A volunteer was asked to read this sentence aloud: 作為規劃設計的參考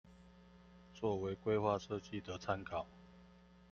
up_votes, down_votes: 2, 0